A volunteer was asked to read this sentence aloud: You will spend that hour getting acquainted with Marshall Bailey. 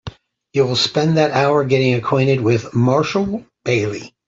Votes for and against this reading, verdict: 2, 0, accepted